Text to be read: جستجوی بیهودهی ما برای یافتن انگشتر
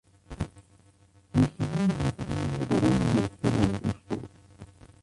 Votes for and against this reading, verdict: 0, 2, rejected